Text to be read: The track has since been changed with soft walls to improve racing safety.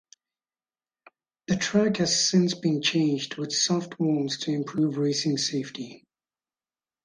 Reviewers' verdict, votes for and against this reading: accepted, 4, 0